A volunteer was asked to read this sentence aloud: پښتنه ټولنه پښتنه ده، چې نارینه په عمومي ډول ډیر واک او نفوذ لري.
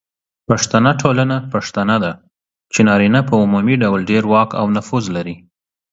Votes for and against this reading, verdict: 2, 0, accepted